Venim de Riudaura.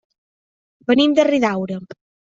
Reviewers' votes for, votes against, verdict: 0, 2, rejected